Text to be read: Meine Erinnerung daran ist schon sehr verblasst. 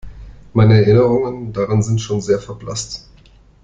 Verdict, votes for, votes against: rejected, 0, 2